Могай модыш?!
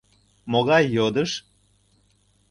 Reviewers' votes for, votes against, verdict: 1, 2, rejected